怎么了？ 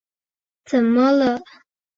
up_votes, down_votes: 3, 0